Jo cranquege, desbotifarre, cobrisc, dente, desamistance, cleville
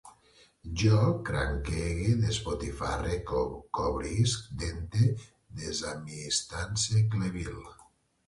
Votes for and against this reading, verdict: 0, 3, rejected